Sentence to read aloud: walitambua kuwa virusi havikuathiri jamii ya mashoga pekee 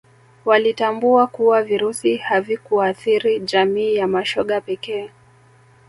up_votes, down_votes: 2, 0